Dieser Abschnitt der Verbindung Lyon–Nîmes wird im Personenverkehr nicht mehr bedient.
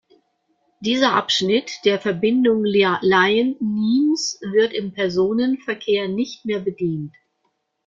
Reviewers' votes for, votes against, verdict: 0, 2, rejected